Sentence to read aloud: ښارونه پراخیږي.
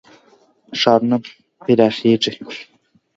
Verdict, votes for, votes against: rejected, 1, 2